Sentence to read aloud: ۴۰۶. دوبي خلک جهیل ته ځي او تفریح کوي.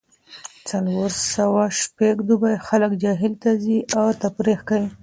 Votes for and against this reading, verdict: 0, 2, rejected